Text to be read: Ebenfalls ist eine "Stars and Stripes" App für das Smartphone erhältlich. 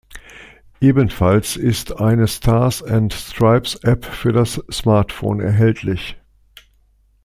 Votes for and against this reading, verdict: 2, 0, accepted